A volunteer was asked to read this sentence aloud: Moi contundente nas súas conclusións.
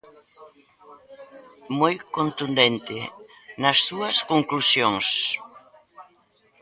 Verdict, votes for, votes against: rejected, 1, 2